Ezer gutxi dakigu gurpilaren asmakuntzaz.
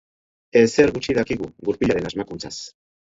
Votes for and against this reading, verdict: 4, 2, accepted